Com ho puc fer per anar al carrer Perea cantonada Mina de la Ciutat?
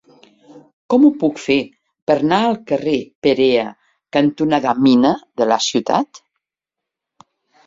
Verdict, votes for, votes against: rejected, 0, 2